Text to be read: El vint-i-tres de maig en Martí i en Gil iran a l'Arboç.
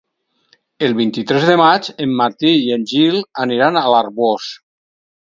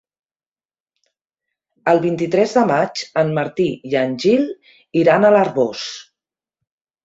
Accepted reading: second